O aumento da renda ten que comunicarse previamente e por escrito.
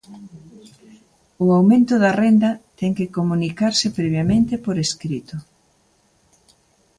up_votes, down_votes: 2, 0